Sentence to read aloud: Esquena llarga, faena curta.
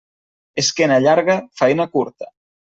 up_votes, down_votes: 2, 0